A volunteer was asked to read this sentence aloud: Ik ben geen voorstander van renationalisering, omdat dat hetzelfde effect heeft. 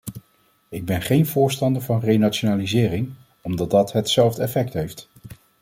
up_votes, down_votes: 2, 0